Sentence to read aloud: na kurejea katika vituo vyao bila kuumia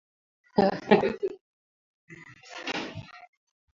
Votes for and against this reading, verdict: 0, 2, rejected